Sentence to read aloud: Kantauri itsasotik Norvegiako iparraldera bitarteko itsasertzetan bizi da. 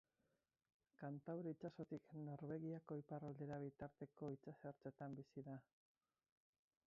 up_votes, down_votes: 0, 4